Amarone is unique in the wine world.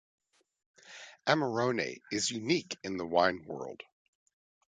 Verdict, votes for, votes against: accepted, 2, 0